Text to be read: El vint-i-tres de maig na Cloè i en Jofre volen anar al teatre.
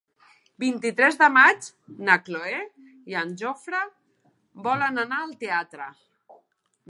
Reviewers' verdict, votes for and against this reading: rejected, 0, 2